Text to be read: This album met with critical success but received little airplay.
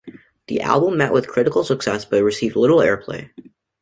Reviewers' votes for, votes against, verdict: 1, 2, rejected